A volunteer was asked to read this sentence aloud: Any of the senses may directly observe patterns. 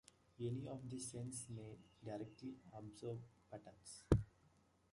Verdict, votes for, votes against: rejected, 0, 2